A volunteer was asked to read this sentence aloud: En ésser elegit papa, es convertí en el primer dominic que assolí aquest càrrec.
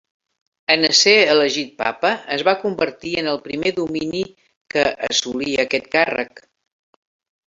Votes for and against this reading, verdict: 0, 3, rejected